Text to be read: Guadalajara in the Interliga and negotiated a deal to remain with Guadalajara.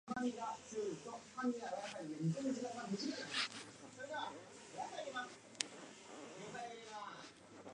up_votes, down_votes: 0, 2